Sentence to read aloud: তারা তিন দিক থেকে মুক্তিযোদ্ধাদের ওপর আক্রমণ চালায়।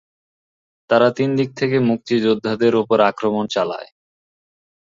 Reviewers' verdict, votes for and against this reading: rejected, 2, 2